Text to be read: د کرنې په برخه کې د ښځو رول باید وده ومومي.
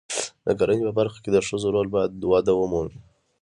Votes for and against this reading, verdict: 2, 0, accepted